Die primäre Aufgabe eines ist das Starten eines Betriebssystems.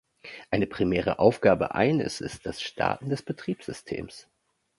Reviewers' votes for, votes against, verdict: 0, 2, rejected